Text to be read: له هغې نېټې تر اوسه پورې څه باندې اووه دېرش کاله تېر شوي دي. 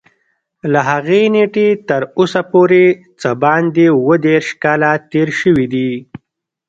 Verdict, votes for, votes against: rejected, 0, 2